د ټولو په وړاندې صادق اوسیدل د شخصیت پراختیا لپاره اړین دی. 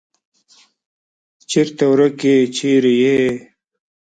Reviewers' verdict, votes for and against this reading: rejected, 0, 2